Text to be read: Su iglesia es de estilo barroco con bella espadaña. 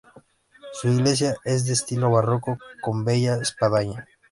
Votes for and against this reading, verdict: 3, 0, accepted